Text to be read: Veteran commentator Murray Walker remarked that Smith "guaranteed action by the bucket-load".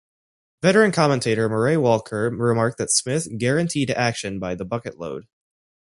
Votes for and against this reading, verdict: 2, 0, accepted